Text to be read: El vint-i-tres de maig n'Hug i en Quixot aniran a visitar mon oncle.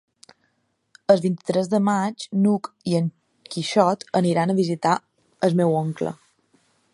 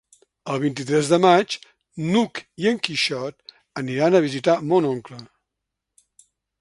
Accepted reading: second